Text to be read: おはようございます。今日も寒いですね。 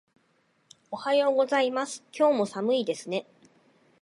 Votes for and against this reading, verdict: 2, 0, accepted